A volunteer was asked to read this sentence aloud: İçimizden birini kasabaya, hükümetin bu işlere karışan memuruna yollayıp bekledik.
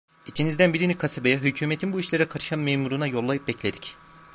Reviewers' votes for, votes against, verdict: 1, 2, rejected